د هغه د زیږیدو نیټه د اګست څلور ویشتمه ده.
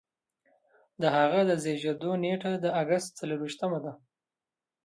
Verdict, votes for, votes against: accepted, 2, 0